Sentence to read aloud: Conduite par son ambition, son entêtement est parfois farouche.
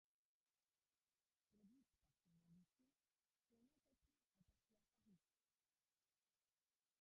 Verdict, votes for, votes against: rejected, 0, 2